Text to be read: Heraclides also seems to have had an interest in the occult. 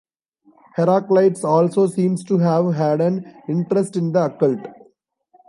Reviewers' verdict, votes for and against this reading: rejected, 1, 2